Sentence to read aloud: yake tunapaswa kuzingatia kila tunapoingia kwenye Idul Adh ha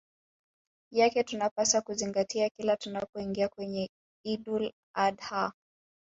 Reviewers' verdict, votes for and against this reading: rejected, 0, 2